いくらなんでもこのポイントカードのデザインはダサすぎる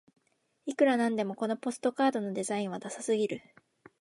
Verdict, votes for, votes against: rejected, 0, 2